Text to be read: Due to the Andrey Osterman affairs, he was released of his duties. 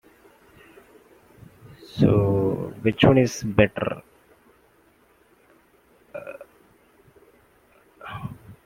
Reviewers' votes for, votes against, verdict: 0, 2, rejected